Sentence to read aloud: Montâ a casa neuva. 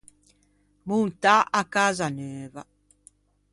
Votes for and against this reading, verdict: 2, 0, accepted